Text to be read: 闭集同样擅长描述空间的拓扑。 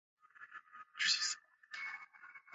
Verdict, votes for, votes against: rejected, 0, 3